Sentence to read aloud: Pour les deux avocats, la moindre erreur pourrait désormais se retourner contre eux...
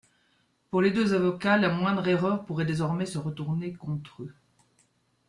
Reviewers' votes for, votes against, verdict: 2, 0, accepted